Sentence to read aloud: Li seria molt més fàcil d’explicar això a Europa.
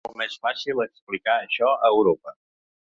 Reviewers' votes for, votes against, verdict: 1, 2, rejected